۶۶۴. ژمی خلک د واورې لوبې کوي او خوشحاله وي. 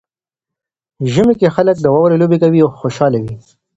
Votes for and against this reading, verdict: 0, 2, rejected